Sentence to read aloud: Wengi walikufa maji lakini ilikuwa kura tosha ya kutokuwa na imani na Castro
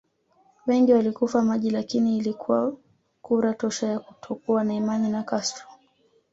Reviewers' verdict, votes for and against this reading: rejected, 1, 2